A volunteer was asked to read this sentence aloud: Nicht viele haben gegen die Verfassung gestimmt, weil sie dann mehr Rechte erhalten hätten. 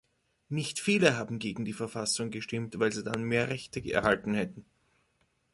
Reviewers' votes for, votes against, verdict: 1, 2, rejected